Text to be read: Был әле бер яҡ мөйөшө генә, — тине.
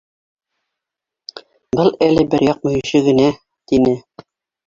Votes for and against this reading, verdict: 2, 3, rejected